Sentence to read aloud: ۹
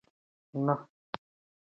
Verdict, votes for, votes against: rejected, 0, 2